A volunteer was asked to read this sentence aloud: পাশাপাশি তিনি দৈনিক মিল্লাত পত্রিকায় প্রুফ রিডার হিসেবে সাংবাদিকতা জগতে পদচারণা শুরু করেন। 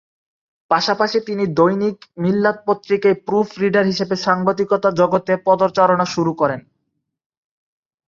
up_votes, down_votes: 3, 0